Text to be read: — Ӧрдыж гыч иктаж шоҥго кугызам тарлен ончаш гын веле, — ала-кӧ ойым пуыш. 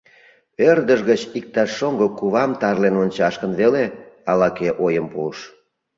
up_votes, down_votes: 1, 2